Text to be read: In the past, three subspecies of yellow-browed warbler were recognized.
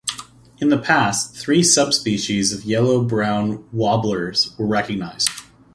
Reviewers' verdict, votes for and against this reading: rejected, 2, 3